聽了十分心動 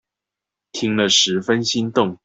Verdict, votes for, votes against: accepted, 2, 0